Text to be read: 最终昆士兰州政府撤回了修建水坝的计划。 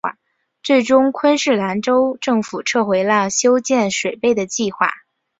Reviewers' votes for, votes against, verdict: 2, 5, rejected